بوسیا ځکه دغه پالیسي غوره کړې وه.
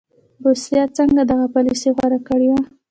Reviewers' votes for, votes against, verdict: 1, 2, rejected